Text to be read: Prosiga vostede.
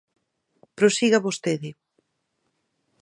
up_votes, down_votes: 4, 0